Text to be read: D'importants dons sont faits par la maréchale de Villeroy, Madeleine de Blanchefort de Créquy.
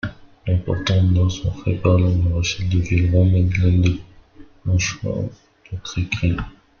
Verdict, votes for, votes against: rejected, 1, 2